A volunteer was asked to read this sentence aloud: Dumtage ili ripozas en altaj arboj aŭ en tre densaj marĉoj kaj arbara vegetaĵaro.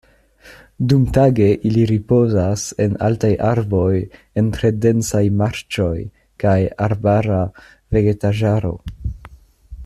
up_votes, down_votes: 0, 2